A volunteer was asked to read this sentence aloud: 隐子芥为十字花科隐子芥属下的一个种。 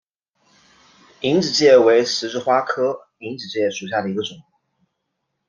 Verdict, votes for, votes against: accepted, 2, 0